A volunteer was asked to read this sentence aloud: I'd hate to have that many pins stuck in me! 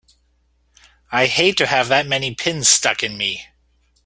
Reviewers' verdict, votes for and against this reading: accepted, 3, 1